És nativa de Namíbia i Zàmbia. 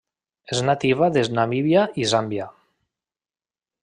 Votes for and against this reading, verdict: 1, 2, rejected